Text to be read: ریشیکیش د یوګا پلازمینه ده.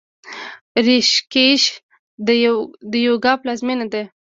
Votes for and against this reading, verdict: 2, 1, accepted